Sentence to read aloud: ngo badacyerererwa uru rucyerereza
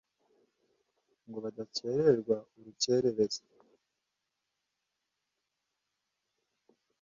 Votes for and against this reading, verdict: 1, 2, rejected